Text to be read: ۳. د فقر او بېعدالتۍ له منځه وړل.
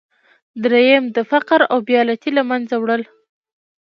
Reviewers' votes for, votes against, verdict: 0, 2, rejected